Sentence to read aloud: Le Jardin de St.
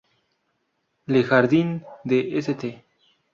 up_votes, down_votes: 0, 2